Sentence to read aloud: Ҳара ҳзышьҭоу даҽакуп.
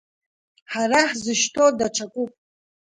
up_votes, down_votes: 2, 1